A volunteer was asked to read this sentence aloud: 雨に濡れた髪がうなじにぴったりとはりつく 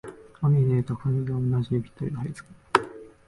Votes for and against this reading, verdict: 1, 2, rejected